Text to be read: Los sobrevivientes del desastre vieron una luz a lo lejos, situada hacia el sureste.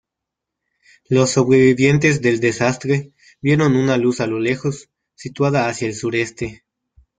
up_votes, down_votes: 2, 1